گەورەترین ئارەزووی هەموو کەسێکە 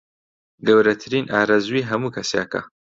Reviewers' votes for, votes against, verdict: 2, 0, accepted